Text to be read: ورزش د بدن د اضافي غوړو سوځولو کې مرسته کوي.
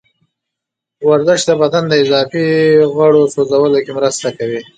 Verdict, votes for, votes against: rejected, 0, 2